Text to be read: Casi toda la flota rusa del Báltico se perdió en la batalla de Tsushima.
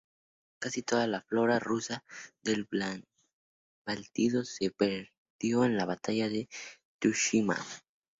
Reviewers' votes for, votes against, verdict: 0, 2, rejected